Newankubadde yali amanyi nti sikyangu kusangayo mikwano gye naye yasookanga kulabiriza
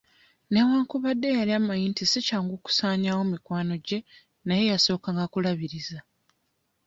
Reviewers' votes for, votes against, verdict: 1, 2, rejected